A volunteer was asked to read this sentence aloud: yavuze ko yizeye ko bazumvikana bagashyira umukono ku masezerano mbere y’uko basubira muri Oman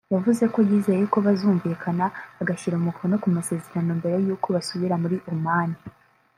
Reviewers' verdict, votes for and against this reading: rejected, 0, 2